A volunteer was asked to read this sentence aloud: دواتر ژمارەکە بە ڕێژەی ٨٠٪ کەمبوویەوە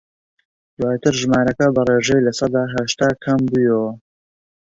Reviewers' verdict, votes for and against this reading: rejected, 0, 2